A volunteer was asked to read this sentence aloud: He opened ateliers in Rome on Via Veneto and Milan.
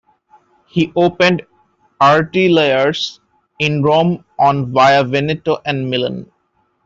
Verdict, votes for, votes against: rejected, 1, 2